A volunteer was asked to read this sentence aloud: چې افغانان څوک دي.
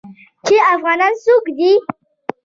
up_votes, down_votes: 2, 0